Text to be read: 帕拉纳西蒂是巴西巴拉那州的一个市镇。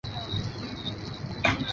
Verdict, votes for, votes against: rejected, 1, 3